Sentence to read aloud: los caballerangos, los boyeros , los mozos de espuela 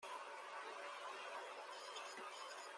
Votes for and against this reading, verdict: 0, 2, rejected